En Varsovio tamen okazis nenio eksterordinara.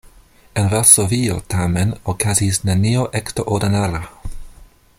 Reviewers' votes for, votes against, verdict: 2, 1, accepted